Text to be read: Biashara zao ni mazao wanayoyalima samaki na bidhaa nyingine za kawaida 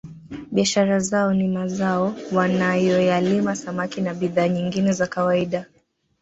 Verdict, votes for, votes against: rejected, 1, 2